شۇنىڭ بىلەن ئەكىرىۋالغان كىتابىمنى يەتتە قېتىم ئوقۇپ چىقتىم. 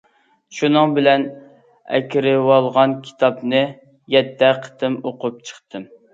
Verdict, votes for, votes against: rejected, 0, 2